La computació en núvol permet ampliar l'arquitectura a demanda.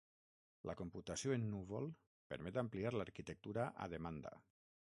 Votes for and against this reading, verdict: 3, 6, rejected